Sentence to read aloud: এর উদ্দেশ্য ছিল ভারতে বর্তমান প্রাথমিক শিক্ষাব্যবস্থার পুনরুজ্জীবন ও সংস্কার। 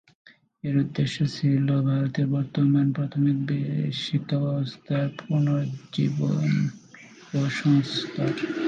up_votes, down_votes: 2, 11